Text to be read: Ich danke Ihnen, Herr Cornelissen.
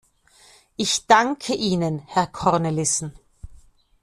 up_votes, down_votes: 2, 0